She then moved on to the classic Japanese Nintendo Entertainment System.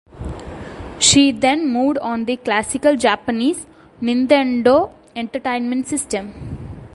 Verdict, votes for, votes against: accepted, 2, 1